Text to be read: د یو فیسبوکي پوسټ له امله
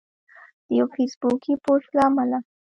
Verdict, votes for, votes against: rejected, 0, 2